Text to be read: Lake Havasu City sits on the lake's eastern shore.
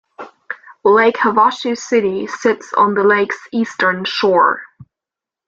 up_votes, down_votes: 2, 0